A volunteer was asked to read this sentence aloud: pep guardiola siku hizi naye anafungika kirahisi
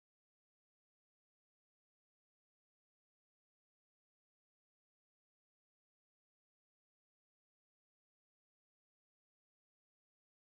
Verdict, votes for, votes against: rejected, 0, 2